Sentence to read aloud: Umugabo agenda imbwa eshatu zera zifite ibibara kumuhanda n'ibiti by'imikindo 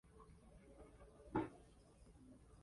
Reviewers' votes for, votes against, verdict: 0, 2, rejected